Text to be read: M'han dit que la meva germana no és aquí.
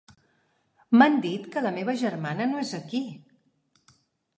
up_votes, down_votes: 3, 0